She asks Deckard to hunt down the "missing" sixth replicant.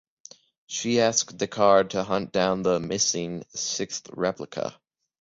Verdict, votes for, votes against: rejected, 0, 2